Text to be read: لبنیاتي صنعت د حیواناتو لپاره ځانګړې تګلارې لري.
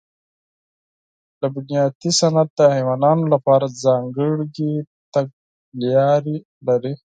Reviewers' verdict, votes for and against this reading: rejected, 2, 4